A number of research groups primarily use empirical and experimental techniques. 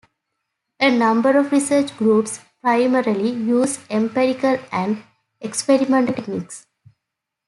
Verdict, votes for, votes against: accepted, 2, 1